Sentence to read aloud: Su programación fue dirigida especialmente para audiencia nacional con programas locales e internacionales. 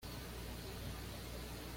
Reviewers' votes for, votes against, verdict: 1, 2, rejected